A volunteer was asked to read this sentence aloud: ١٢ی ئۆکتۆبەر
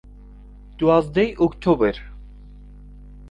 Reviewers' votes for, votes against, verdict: 0, 2, rejected